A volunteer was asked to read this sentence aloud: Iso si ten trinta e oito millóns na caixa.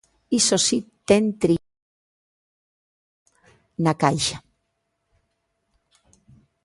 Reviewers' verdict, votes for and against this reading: rejected, 0, 2